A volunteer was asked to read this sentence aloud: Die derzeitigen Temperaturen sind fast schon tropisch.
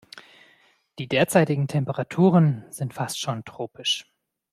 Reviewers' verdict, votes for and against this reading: accepted, 2, 0